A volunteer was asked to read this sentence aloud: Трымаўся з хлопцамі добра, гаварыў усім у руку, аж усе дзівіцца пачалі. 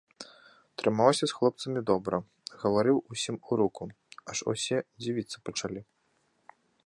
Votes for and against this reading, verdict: 2, 0, accepted